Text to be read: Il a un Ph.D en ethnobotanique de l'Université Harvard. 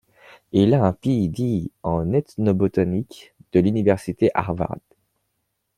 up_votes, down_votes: 1, 2